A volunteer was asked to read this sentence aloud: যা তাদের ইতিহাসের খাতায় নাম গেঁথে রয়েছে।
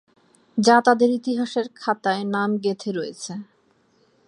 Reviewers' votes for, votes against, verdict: 8, 0, accepted